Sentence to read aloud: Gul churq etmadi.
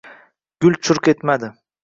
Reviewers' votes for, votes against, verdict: 2, 0, accepted